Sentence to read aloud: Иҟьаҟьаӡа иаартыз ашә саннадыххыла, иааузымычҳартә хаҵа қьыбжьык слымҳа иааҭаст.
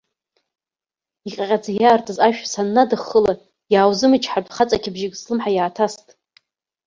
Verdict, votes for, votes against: rejected, 1, 2